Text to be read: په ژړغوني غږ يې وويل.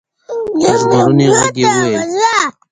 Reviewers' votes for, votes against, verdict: 0, 2, rejected